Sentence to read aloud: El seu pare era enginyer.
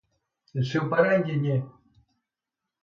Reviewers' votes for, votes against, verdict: 1, 2, rejected